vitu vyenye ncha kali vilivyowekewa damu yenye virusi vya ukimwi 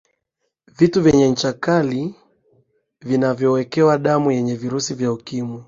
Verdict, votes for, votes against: rejected, 2, 3